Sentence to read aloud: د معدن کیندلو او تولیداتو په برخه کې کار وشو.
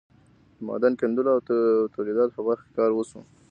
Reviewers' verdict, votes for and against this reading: accepted, 2, 0